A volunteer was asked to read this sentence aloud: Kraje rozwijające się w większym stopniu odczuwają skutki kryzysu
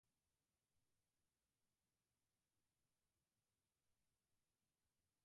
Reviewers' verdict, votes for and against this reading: rejected, 0, 4